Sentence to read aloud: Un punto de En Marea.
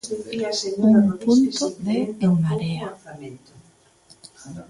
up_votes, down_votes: 1, 2